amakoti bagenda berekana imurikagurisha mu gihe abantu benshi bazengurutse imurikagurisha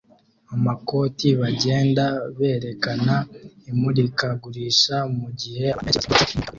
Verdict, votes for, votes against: rejected, 0, 2